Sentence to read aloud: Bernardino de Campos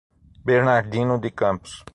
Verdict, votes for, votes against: rejected, 0, 6